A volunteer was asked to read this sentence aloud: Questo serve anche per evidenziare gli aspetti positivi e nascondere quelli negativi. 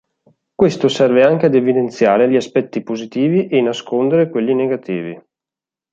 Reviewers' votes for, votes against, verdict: 0, 2, rejected